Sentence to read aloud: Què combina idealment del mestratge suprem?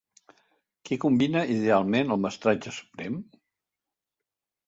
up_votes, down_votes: 0, 2